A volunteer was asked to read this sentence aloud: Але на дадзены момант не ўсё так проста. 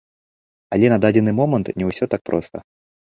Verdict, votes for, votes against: accepted, 2, 0